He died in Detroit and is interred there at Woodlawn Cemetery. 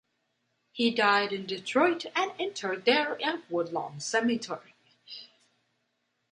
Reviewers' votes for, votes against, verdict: 0, 2, rejected